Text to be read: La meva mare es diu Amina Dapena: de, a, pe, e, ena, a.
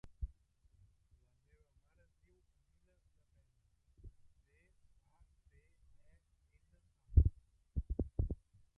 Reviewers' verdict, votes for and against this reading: rejected, 0, 2